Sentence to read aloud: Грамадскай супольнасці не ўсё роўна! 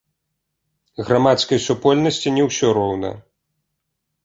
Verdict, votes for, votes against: accepted, 2, 0